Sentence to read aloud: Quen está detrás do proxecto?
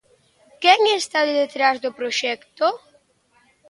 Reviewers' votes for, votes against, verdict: 2, 0, accepted